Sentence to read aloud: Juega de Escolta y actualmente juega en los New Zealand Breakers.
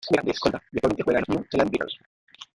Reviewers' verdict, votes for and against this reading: rejected, 0, 2